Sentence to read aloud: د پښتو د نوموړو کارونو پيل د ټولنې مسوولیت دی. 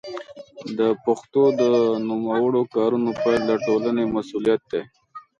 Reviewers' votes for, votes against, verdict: 0, 2, rejected